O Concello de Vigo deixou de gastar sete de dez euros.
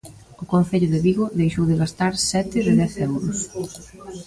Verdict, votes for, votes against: rejected, 1, 2